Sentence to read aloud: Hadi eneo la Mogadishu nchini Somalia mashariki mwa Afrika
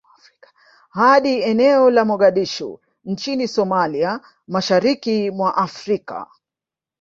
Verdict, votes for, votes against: rejected, 1, 2